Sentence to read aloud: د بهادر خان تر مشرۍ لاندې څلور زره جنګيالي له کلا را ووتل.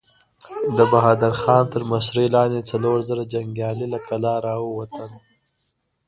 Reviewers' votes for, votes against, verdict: 2, 0, accepted